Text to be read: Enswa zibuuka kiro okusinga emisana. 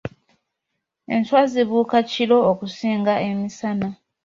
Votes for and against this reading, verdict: 2, 0, accepted